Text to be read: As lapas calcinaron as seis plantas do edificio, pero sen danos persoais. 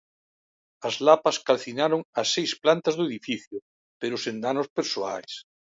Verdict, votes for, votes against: accepted, 2, 0